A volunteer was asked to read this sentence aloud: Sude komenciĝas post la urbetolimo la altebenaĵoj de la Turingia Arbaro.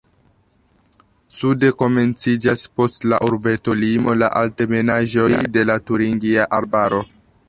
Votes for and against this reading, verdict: 2, 0, accepted